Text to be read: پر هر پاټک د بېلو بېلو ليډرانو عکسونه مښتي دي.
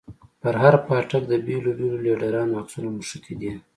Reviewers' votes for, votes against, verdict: 2, 1, accepted